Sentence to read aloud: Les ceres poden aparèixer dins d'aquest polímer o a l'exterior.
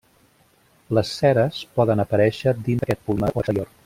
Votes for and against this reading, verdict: 0, 2, rejected